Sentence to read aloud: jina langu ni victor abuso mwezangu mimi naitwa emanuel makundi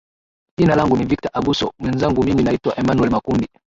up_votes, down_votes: 0, 2